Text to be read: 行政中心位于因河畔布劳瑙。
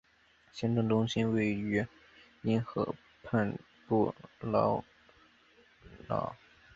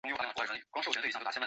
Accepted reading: first